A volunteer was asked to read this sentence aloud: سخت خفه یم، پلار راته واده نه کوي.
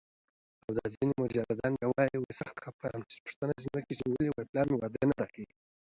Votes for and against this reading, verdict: 1, 2, rejected